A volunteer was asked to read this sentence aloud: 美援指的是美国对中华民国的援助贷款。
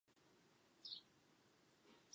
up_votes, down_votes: 1, 3